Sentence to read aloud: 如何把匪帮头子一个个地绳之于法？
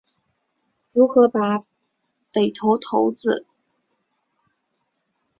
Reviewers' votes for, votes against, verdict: 0, 4, rejected